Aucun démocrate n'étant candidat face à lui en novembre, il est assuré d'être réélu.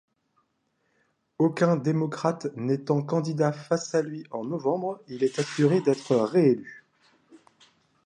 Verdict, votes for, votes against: accepted, 2, 0